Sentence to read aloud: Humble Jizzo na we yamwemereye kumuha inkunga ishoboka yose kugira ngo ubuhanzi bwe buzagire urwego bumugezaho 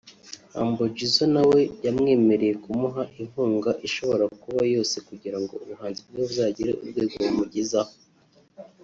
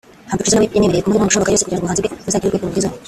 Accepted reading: second